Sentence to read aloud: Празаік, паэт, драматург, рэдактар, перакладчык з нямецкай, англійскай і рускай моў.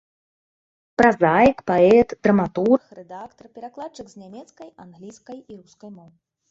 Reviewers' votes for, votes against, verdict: 2, 3, rejected